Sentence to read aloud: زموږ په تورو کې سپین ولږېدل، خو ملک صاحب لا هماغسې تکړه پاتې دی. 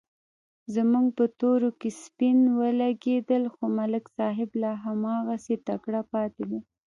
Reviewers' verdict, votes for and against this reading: accepted, 2, 0